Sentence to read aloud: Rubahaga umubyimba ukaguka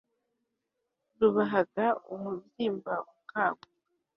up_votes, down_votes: 3, 0